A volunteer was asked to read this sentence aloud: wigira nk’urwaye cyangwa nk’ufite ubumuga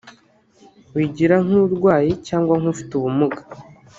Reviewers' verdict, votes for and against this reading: rejected, 1, 2